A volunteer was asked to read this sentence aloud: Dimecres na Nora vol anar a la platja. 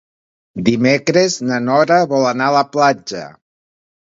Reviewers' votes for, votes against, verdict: 2, 0, accepted